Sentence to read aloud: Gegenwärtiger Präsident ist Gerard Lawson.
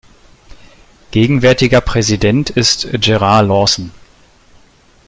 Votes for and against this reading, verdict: 2, 0, accepted